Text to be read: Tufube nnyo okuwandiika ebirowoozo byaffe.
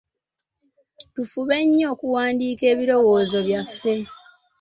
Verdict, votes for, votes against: accepted, 2, 1